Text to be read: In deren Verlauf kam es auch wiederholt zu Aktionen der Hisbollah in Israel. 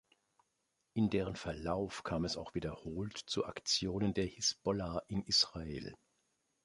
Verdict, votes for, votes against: accepted, 2, 0